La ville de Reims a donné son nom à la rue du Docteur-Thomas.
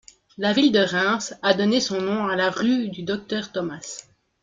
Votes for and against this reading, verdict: 0, 2, rejected